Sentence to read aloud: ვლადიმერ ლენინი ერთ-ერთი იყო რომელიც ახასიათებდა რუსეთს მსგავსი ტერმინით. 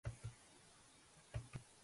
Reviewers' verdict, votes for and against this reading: rejected, 0, 3